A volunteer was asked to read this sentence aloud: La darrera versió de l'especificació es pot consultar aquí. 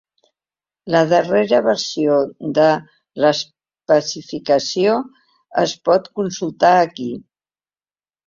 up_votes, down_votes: 1, 2